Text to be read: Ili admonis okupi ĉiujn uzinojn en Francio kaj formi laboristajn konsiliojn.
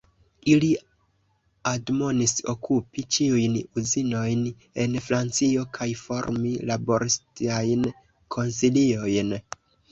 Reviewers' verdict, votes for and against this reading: accepted, 2, 0